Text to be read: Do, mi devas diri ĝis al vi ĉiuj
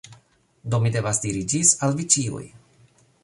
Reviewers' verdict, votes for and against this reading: accepted, 3, 0